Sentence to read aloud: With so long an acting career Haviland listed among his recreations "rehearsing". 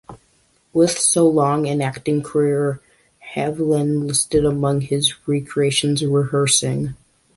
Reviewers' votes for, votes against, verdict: 2, 0, accepted